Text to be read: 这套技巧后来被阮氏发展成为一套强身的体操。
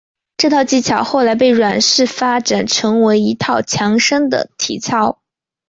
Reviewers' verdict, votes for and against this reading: accepted, 5, 0